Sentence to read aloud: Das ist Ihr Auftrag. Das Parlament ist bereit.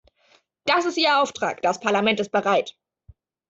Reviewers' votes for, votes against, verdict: 2, 0, accepted